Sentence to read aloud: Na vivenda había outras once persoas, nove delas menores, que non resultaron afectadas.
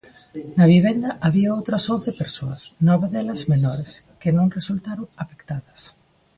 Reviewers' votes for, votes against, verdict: 1, 2, rejected